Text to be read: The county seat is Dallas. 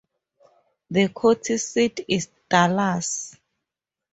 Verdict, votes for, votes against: rejected, 0, 2